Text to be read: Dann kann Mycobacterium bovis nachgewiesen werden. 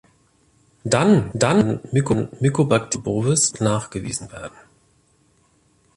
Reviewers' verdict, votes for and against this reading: rejected, 0, 2